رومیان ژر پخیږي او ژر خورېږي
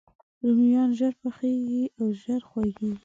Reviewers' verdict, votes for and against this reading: rejected, 0, 2